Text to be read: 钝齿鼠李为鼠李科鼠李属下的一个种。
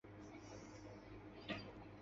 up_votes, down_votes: 2, 1